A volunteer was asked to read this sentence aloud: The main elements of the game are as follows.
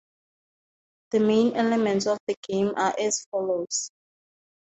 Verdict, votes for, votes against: accepted, 4, 0